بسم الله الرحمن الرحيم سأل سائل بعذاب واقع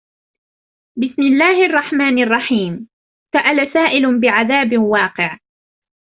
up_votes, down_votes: 0, 2